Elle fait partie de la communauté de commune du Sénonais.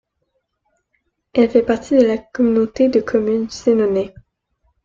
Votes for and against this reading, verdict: 0, 2, rejected